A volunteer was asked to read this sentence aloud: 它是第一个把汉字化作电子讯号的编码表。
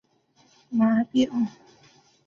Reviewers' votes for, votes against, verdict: 0, 2, rejected